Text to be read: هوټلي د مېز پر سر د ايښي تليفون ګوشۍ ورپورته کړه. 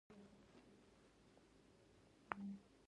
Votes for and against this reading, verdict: 1, 2, rejected